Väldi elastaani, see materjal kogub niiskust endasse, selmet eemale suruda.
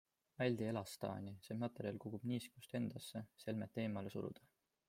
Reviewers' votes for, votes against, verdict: 2, 0, accepted